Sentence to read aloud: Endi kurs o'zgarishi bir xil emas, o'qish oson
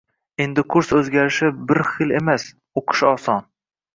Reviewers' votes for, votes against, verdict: 2, 0, accepted